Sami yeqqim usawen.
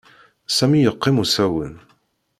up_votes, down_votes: 2, 0